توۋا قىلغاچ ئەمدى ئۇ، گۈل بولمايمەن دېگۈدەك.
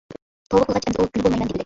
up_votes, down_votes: 0, 2